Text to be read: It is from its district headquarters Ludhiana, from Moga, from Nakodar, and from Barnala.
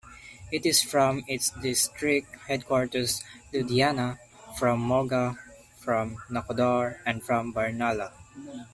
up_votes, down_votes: 2, 0